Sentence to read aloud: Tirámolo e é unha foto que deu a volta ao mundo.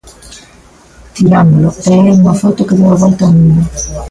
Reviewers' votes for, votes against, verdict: 0, 2, rejected